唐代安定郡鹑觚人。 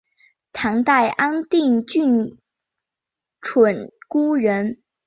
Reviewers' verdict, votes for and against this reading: accepted, 2, 0